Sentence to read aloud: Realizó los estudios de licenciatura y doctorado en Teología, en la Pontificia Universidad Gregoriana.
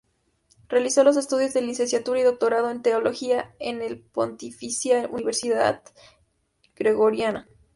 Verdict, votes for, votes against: accepted, 2, 0